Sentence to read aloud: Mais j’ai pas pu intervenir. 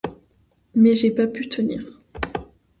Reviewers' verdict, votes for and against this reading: rejected, 0, 2